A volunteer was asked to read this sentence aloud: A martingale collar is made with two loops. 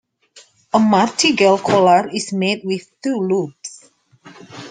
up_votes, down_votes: 2, 1